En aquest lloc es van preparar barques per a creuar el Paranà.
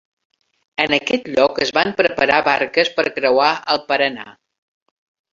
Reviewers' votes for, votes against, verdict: 1, 2, rejected